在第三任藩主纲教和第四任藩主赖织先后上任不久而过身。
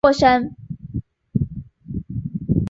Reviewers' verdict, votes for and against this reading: rejected, 0, 3